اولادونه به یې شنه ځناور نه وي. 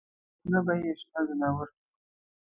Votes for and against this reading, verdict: 1, 2, rejected